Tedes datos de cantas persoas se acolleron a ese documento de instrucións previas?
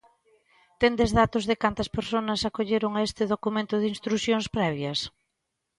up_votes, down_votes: 1, 2